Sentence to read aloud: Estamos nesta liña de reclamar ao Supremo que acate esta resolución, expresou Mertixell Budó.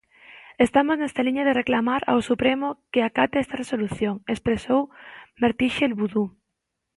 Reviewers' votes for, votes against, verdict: 1, 2, rejected